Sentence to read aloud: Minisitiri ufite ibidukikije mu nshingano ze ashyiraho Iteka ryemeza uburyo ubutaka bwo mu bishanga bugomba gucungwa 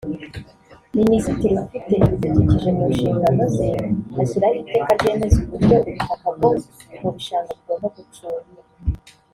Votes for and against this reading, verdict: 1, 2, rejected